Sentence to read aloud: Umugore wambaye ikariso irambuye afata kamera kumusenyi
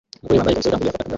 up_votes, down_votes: 0, 2